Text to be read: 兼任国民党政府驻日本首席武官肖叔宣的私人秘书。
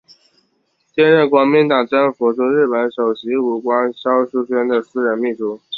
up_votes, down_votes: 2, 0